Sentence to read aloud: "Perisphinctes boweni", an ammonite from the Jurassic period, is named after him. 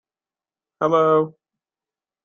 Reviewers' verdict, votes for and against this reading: rejected, 0, 2